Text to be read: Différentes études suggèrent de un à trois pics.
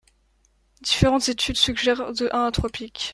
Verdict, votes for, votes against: rejected, 0, 2